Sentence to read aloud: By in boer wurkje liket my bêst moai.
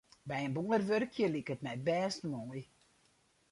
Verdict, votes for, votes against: rejected, 0, 2